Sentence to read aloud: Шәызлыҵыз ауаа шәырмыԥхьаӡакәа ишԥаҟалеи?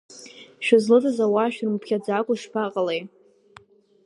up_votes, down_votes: 4, 0